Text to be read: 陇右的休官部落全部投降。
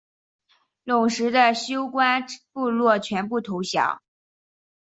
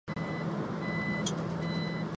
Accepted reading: first